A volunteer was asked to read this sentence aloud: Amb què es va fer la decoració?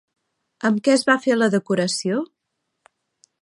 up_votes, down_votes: 3, 0